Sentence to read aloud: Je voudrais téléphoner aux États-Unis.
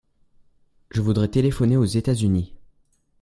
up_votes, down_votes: 2, 0